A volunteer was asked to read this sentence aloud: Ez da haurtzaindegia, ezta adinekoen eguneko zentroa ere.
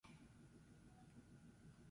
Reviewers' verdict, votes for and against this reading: rejected, 0, 2